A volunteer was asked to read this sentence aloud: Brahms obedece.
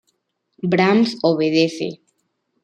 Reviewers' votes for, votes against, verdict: 2, 0, accepted